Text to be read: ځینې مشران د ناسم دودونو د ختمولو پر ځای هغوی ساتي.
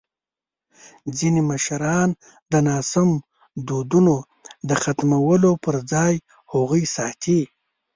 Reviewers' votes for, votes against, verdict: 0, 2, rejected